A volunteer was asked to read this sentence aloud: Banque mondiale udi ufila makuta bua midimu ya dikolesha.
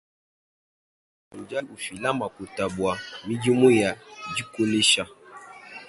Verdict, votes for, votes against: accepted, 2, 0